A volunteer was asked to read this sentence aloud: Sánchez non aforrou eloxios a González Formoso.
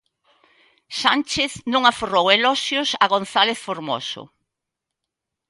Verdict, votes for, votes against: accepted, 2, 0